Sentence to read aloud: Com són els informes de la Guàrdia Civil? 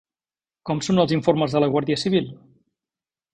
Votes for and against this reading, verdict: 3, 0, accepted